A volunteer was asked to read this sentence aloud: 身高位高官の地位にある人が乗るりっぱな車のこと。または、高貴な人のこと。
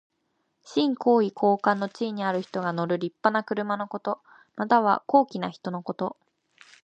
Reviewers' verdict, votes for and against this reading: accepted, 2, 0